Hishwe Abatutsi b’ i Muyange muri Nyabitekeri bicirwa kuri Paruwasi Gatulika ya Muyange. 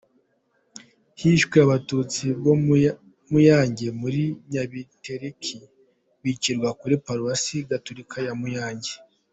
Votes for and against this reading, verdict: 2, 1, accepted